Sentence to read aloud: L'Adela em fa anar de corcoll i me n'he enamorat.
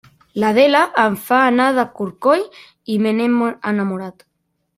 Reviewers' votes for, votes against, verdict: 0, 2, rejected